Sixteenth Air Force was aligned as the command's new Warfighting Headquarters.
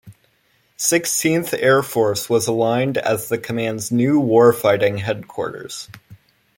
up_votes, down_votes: 2, 0